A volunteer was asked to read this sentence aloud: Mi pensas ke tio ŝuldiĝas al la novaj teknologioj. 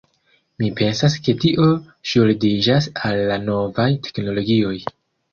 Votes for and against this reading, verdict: 2, 0, accepted